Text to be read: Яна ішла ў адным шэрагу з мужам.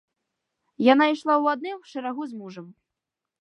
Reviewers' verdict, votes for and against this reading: accepted, 2, 0